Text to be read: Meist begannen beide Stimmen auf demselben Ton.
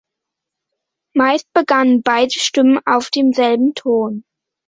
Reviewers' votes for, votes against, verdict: 2, 0, accepted